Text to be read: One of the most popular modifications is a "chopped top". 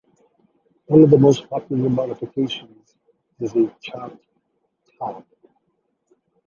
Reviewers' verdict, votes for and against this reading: rejected, 1, 2